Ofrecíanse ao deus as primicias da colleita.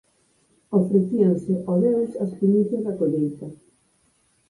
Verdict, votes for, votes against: accepted, 4, 2